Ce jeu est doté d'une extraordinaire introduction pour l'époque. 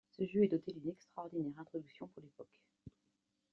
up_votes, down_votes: 2, 0